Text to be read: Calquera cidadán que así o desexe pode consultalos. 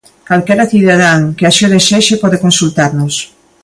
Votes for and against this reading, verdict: 0, 2, rejected